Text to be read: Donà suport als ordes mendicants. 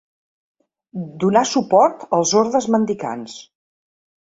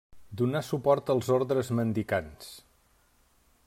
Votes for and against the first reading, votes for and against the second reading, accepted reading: 2, 0, 0, 2, first